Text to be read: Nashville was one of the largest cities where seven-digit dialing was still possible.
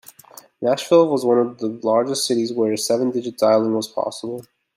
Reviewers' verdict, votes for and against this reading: rejected, 1, 2